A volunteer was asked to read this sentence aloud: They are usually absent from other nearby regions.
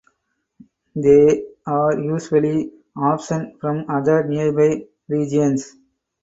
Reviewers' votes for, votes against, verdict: 2, 4, rejected